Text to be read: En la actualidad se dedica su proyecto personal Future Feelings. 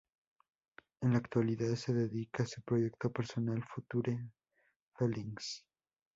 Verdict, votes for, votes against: rejected, 2, 2